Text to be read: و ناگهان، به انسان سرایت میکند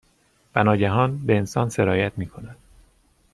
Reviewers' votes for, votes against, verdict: 2, 0, accepted